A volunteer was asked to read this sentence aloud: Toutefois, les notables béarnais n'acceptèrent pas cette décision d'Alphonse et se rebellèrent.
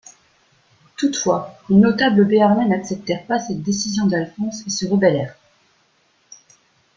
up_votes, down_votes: 2, 0